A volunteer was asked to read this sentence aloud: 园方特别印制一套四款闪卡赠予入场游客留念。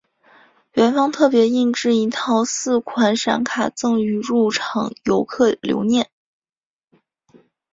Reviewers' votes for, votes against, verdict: 2, 0, accepted